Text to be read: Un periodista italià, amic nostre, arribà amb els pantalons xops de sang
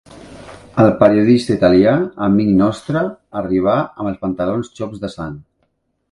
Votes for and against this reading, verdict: 1, 2, rejected